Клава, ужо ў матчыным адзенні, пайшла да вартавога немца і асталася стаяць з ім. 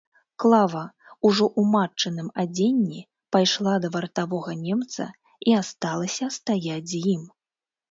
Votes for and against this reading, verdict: 3, 0, accepted